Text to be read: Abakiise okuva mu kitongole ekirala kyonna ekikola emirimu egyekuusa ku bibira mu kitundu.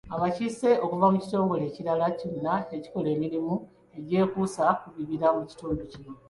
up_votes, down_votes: 2, 1